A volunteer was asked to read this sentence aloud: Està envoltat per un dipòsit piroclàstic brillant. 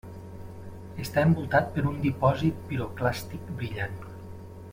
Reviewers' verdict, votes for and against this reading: accepted, 3, 0